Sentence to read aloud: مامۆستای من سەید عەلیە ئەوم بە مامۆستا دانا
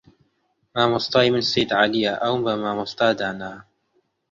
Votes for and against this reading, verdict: 1, 2, rejected